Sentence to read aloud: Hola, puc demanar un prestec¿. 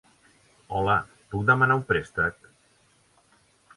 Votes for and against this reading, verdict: 3, 0, accepted